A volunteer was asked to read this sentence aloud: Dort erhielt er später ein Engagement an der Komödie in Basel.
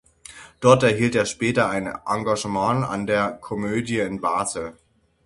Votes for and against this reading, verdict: 3, 6, rejected